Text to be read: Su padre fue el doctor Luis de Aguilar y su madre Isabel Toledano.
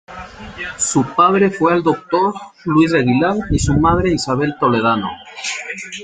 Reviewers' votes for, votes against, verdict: 2, 0, accepted